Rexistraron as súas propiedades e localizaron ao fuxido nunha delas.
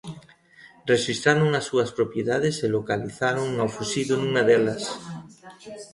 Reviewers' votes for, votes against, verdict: 1, 2, rejected